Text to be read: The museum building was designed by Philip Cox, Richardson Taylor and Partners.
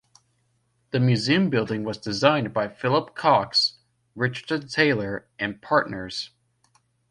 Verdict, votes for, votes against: accepted, 2, 0